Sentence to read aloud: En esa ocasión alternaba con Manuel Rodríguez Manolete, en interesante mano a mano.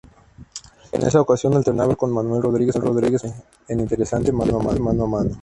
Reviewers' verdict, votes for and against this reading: rejected, 0, 2